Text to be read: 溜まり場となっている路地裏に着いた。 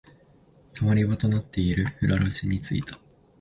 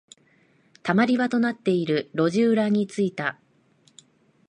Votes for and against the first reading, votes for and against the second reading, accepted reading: 3, 7, 2, 0, second